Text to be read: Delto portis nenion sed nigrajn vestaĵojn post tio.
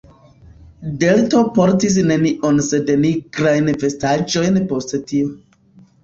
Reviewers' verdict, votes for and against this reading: rejected, 0, 2